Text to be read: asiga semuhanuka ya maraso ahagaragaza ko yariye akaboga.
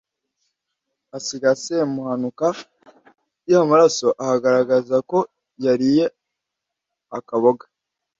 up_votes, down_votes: 2, 0